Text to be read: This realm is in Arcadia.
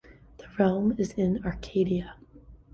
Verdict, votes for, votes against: rejected, 1, 2